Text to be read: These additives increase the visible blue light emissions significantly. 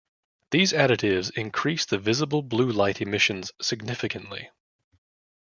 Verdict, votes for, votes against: accepted, 2, 0